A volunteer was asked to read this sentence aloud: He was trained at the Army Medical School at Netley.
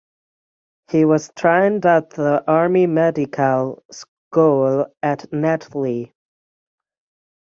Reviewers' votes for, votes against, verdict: 6, 0, accepted